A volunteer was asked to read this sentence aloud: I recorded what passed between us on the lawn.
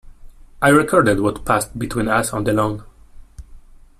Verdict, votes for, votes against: accepted, 2, 0